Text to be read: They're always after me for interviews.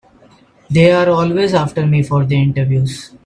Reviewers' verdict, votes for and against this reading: rejected, 2, 3